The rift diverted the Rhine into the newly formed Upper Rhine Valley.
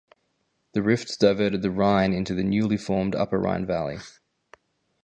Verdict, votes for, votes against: accepted, 4, 0